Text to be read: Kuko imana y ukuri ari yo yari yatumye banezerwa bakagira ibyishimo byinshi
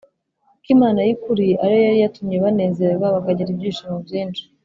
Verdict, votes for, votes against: accepted, 2, 0